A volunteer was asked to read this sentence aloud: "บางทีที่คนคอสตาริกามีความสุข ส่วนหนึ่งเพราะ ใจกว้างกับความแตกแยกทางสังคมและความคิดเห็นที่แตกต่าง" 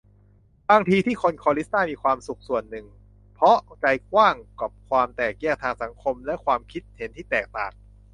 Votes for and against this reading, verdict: 0, 2, rejected